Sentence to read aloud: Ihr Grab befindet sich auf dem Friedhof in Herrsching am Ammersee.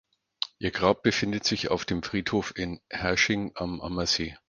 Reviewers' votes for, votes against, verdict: 4, 0, accepted